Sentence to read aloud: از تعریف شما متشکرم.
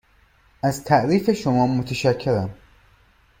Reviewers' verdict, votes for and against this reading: rejected, 1, 2